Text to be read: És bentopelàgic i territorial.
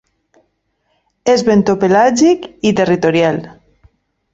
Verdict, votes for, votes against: accepted, 2, 0